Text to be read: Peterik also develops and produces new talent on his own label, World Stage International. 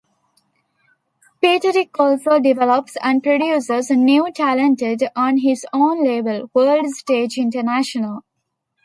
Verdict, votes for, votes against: rejected, 1, 2